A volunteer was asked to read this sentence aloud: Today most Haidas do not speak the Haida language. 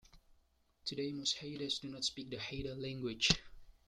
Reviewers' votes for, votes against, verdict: 2, 1, accepted